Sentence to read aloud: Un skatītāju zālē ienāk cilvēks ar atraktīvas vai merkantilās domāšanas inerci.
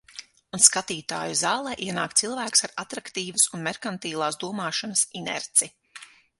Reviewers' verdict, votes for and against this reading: rejected, 0, 6